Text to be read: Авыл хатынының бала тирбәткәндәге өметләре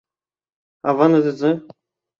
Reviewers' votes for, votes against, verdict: 0, 2, rejected